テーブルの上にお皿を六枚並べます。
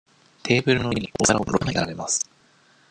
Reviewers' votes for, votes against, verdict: 0, 2, rejected